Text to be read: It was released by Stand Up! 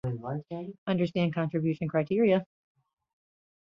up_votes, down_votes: 1, 2